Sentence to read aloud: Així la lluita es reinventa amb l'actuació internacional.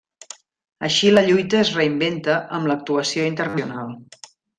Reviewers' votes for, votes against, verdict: 0, 2, rejected